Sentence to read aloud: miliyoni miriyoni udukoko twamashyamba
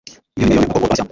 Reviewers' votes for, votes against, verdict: 1, 2, rejected